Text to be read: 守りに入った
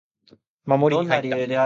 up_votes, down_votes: 10, 11